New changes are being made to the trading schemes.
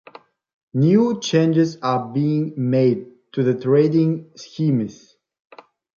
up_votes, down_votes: 2, 1